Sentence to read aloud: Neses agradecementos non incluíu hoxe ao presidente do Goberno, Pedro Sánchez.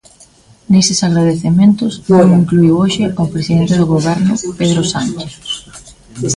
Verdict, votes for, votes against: rejected, 1, 2